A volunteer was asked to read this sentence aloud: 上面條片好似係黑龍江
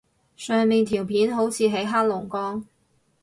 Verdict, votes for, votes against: rejected, 0, 2